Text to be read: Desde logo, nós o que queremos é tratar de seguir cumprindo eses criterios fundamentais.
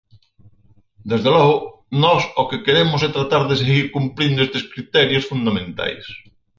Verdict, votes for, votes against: rejected, 0, 4